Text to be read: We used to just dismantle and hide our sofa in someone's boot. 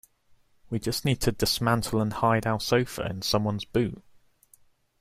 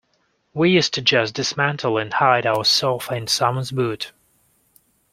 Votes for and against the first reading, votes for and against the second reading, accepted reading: 1, 2, 2, 0, second